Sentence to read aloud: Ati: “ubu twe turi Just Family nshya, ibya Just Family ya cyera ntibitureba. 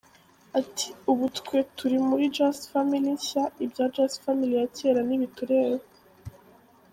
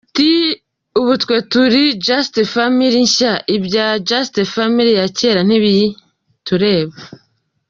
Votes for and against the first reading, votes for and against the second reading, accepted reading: 2, 0, 1, 2, first